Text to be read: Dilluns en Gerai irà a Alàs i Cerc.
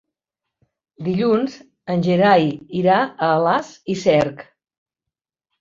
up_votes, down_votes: 3, 0